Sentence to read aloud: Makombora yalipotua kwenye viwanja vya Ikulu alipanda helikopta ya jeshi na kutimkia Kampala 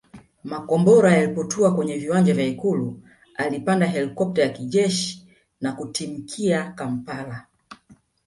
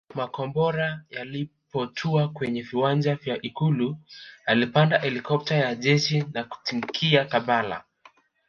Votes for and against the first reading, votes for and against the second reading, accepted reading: 2, 1, 0, 2, first